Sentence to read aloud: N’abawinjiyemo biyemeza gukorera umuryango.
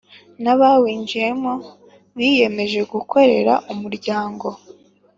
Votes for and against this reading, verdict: 3, 0, accepted